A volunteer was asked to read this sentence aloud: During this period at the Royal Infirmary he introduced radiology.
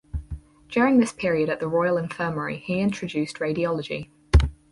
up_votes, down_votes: 2, 2